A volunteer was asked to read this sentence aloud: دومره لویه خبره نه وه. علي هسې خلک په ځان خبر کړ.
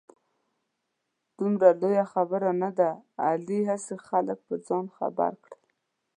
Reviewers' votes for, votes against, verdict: 1, 2, rejected